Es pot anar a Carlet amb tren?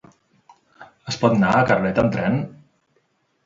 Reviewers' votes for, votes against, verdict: 2, 1, accepted